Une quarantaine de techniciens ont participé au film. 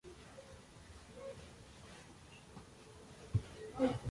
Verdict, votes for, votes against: rejected, 0, 2